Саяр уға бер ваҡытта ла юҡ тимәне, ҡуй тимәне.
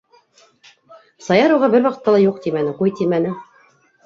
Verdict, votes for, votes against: rejected, 0, 2